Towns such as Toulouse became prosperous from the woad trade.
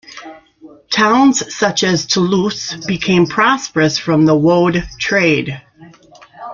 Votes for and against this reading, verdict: 2, 1, accepted